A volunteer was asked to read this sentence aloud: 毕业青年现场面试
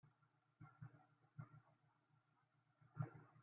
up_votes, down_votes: 0, 2